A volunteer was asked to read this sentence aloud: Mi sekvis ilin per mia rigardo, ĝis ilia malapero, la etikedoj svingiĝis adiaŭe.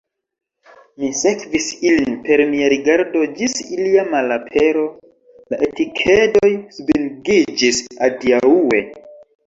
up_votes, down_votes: 2, 1